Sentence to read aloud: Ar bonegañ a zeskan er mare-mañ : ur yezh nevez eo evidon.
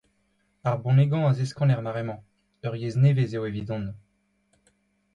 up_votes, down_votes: 2, 0